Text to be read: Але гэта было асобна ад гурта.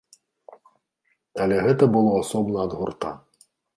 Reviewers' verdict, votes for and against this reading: accepted, 2, 0